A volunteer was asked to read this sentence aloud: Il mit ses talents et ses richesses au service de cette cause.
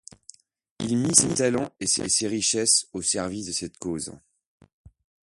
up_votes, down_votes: 1, 2